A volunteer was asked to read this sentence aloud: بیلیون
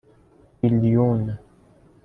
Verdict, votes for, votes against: accepted, 2, 0